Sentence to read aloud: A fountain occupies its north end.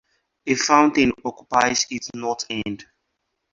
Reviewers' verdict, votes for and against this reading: accepted, 4, 0